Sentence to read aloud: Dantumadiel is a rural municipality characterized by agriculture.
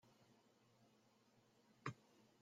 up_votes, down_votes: 0, 2